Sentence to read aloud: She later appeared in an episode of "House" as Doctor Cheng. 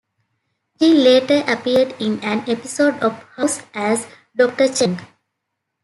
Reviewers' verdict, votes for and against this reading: accepted, 2, 0